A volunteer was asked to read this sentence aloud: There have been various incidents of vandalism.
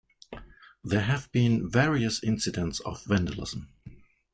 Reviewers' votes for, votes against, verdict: 2, 0, accepted